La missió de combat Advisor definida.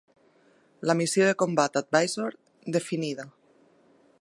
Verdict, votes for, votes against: accepted, 3, 0